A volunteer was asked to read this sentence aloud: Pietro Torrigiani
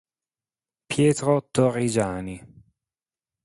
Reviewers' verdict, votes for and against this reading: accepted, 3, 0